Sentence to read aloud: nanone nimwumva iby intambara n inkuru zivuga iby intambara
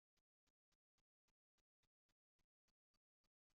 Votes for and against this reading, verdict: 1, 2, rejected